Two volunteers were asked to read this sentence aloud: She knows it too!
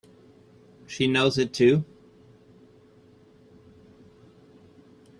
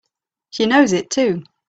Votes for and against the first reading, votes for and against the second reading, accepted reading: 1, 2, 2, 0, second